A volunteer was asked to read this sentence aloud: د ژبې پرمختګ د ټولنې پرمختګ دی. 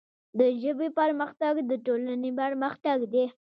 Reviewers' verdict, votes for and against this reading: accepted, 3, 0